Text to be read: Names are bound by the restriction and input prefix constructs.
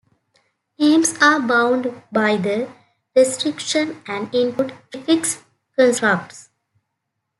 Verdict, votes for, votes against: accepted, 2, 0